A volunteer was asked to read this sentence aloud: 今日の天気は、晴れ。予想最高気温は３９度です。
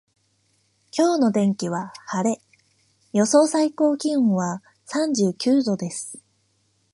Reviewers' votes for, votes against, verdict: 0, 2, rejected